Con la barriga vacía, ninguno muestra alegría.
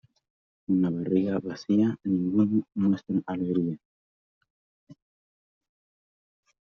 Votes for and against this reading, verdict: 0, 2, rejected